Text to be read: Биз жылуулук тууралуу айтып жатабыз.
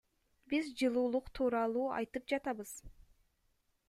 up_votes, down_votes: 1, 2